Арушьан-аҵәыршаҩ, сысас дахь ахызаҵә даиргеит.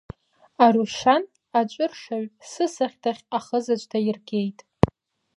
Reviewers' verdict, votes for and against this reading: accepted, 2, 0